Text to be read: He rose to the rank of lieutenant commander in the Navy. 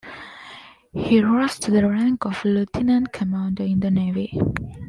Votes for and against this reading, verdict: 2, 0, accepted